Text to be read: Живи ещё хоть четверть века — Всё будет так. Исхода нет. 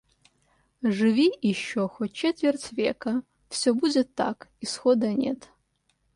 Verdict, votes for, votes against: accepted, 2, 0